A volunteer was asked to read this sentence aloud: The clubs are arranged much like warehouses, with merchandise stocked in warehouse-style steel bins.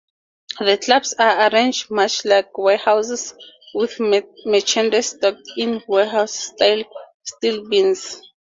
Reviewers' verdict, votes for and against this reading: accepted, 2, 0